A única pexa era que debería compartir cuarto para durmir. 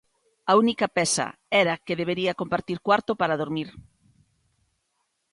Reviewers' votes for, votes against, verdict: 1, 2, rejected